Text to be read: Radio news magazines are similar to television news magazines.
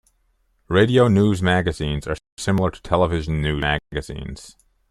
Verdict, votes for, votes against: rejected, 0, 2